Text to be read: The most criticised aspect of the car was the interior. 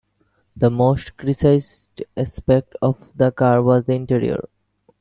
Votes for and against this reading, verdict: 1, 2, rejected